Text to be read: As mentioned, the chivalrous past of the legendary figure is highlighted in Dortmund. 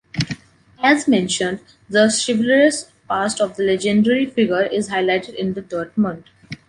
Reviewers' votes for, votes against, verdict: 1, 2, rejected